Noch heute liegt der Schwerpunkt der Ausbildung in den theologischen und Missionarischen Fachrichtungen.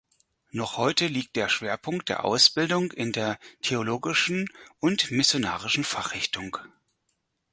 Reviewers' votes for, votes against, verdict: 0, 4, rejected